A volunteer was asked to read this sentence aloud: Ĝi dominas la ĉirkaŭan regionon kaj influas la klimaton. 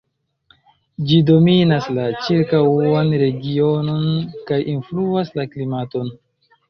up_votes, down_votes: 0, 2